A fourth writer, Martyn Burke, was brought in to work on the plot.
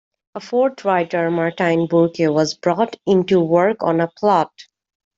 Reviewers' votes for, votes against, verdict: 2, 1, accepted